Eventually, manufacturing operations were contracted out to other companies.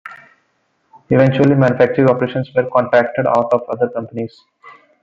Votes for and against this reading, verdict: 0, 2, rejected